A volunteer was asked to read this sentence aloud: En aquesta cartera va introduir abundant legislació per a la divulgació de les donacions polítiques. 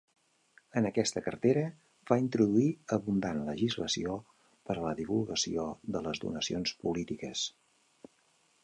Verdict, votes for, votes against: accepted, 2, 0